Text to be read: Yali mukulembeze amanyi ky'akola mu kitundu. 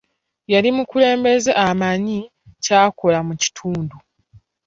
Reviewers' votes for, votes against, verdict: 1, 2, rejected